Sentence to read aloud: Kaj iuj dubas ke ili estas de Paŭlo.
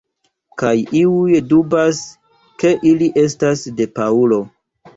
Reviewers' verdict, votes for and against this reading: accepted, 2, 0